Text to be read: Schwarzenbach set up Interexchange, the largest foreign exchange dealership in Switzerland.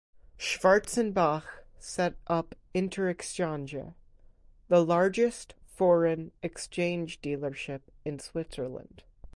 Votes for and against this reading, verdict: 2, 0, accepted